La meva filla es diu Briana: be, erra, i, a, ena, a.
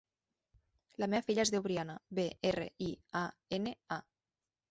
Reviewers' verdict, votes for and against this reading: rejected, 1, 2